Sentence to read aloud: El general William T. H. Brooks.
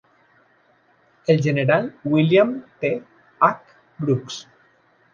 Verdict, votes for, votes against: rejected, 1, 2